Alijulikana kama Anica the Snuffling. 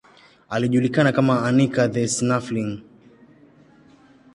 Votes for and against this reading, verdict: 2, 0, accepted